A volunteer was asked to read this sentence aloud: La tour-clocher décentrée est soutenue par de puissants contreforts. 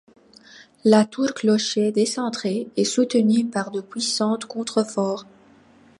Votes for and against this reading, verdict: 2, 0, accepted